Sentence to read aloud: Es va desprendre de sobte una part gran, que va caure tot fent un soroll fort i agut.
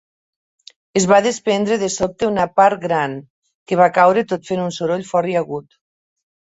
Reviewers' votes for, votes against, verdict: 3, 0, accepted